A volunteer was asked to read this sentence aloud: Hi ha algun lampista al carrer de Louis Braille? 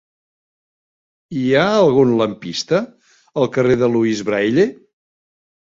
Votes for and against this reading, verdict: 1, 2, rejected